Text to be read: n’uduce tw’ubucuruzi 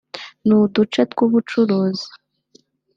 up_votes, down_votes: 2, 0